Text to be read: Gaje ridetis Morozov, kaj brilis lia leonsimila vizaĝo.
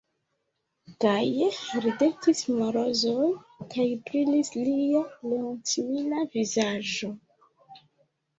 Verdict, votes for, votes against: rejected, 0, 2